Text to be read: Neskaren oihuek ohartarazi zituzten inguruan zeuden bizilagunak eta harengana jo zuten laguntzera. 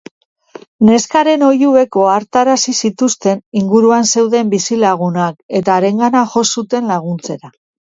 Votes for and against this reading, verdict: 3, 0, accepted